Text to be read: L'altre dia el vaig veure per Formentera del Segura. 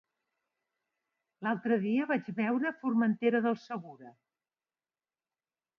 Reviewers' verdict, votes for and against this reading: rejected, 0, 2